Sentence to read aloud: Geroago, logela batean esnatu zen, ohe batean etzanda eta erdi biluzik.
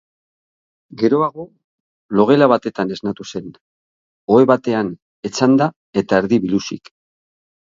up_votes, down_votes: 0, 3